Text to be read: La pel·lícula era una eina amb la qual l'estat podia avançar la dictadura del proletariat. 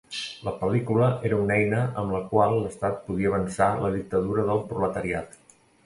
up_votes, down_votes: 2, 0